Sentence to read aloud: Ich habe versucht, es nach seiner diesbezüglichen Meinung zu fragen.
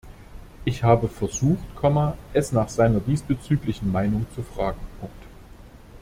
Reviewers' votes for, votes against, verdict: 0, 2, rejected